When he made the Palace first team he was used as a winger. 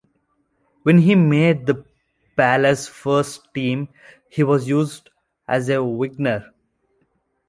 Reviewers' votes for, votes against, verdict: 1, 2, rejected